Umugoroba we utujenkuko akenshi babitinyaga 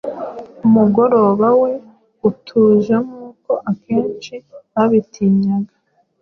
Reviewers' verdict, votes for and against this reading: accepted, 2, 0